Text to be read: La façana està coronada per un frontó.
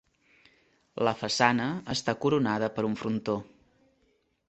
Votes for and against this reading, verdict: 2, 0, accepted